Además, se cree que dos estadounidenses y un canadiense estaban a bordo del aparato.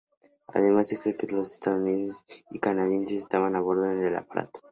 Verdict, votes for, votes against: rejected, 0, 2